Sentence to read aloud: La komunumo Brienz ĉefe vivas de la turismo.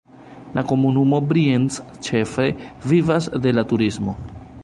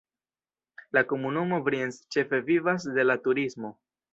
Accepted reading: second